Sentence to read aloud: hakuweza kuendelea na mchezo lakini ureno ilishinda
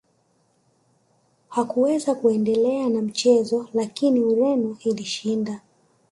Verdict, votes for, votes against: rejected, 1, 2